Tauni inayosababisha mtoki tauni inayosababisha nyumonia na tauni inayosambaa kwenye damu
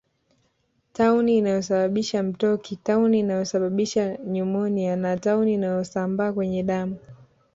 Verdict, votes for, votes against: rejected, 1, 2